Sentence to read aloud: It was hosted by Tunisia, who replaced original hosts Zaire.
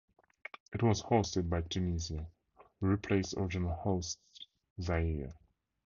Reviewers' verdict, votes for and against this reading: accepted, 4, 0